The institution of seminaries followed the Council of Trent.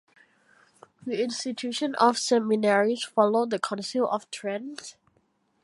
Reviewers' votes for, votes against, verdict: 2, 0, accepted